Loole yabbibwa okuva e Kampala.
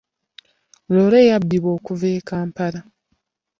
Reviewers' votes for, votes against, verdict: 2, 0, accepted